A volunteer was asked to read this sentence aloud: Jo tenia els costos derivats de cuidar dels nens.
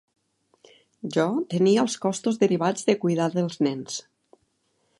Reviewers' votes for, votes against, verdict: 3, 0, accepted